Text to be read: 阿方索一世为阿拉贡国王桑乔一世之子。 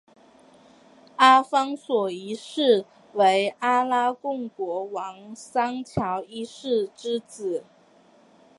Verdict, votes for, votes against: accepted, 2, 0